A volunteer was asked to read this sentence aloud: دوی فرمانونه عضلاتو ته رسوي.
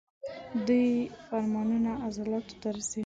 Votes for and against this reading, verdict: 2, 1, accepted